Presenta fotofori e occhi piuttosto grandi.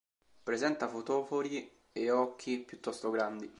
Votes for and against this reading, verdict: 1, 2, rejected